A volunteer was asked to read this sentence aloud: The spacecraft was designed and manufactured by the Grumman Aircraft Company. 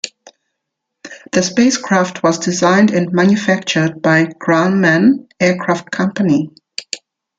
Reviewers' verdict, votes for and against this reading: rejected, 0, 2